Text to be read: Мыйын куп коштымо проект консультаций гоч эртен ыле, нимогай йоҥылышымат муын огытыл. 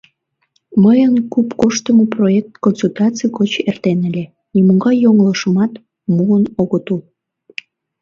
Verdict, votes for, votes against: rejected, 1, 2